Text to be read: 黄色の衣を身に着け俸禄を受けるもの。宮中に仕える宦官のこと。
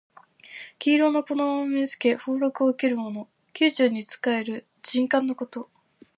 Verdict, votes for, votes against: rejected, 0, 2